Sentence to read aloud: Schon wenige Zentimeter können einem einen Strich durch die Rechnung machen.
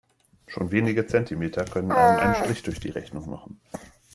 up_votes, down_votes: 1, 2